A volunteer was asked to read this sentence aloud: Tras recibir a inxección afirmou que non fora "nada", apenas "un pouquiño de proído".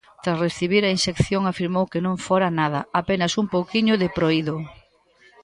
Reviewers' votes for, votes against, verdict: 1, 2, rejected